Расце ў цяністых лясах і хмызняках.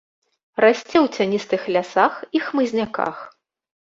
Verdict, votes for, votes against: accepted, 2, 0